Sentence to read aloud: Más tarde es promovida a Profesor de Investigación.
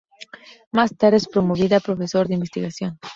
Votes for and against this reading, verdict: 2, 0, accepted